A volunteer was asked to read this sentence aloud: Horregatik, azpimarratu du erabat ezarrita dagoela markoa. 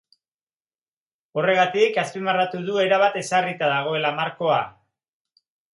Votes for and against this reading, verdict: 2, 0, accepted